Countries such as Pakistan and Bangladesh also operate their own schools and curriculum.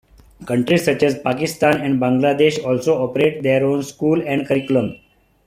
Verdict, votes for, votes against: accepted, 2, 0